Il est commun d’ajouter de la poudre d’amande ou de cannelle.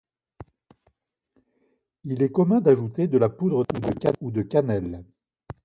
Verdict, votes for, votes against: rejected, 0, 2